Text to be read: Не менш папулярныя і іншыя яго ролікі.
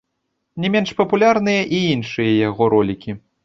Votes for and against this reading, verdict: 1, 2, rejected